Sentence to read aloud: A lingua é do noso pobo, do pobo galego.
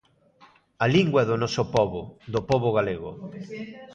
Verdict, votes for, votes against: rejected, 1, 2